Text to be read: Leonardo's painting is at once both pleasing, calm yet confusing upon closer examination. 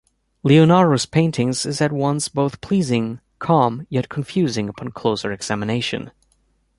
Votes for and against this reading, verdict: 2, 0, accepted